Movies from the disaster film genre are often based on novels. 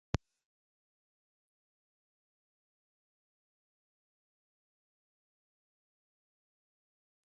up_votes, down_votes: 0, 2